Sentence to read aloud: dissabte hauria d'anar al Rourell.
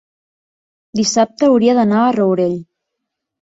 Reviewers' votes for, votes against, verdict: 1, 2, rejected